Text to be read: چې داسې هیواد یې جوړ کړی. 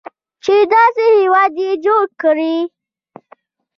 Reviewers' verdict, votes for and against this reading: accepted, 2, 0